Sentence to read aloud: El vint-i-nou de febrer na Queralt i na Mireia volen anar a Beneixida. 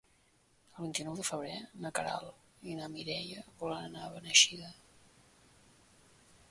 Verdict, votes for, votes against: rejected, 0, 2